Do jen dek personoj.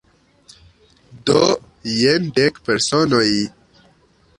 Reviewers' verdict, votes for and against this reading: rejected, 1, 2